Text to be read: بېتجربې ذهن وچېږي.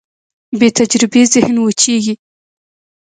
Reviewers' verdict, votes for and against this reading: accepted, 2, 1